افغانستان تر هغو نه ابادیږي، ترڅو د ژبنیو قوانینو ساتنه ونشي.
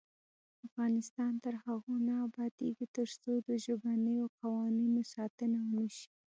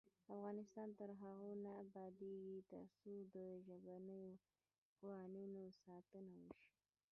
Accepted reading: first